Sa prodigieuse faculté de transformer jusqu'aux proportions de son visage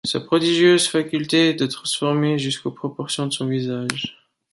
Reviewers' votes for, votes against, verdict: 2, 0, accepted